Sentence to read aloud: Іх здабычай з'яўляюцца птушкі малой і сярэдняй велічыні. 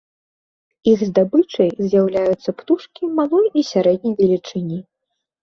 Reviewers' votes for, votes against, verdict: 2, 0, accepted